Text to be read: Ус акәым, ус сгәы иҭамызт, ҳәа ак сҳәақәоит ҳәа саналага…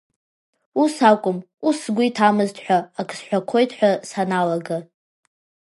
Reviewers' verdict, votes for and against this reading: accepted, 2, 1